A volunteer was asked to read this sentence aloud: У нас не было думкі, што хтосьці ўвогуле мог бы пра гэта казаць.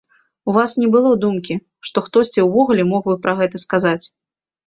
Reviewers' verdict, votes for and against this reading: rejected, 0, 2